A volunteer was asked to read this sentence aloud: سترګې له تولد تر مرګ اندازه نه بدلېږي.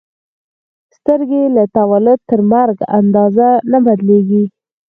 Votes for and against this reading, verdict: 2, 4, rejected